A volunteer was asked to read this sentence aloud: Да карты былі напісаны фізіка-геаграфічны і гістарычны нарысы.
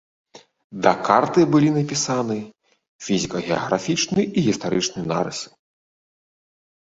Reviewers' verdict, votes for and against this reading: accepted, 2, 0